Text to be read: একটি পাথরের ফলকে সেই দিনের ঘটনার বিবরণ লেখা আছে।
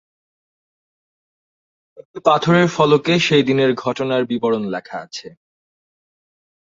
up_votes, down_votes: 0, 2